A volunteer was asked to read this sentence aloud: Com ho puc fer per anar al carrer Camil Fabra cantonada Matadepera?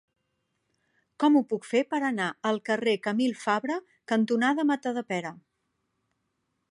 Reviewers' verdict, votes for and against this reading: rejected, 1, 2